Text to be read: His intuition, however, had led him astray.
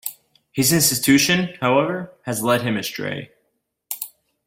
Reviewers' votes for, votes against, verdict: 0, 2, rejected